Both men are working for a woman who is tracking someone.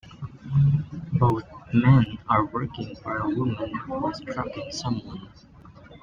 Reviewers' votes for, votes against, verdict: 0, 2, rejected